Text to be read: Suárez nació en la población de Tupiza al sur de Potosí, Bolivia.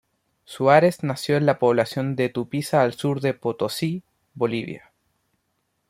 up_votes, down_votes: 2, 0